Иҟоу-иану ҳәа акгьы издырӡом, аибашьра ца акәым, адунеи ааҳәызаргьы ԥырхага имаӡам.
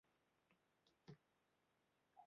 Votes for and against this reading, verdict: 0, 2, rejected